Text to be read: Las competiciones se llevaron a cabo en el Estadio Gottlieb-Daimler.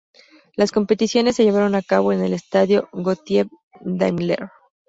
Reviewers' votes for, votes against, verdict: 0, 2, rejected